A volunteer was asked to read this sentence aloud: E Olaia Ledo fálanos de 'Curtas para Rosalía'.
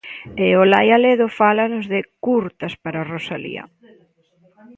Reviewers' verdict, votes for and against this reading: accepted, 2, 0